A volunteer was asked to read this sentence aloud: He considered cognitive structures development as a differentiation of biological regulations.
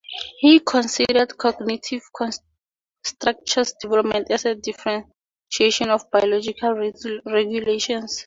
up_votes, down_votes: 2, 2